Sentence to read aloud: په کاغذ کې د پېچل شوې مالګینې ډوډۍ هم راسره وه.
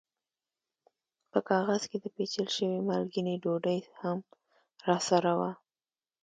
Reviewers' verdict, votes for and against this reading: rejected, 1, 2